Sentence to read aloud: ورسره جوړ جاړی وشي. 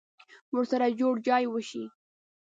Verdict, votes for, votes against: rejected, 1, 2